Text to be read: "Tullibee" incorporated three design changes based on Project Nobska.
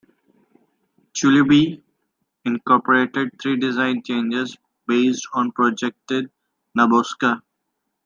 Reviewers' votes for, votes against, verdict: 1, 2, rejected